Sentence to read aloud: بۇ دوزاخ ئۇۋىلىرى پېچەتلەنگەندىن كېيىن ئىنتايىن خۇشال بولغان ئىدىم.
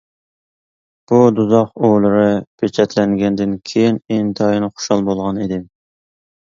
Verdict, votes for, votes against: accepted, 2, 1